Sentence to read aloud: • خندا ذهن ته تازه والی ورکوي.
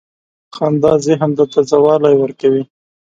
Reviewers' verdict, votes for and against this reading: accepted, 2, 0